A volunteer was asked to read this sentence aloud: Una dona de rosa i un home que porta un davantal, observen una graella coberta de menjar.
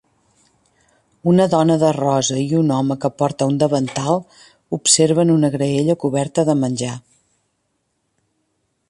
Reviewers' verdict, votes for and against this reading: accepted, 2, 0